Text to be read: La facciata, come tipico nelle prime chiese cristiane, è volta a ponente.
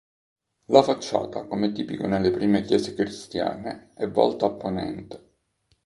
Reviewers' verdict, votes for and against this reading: accepted, 2, 0